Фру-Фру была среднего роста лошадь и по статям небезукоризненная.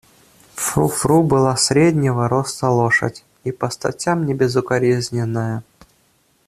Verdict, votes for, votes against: accepted, 2, 0